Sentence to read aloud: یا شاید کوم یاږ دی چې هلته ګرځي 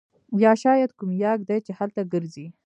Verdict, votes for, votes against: rejected, 1, 2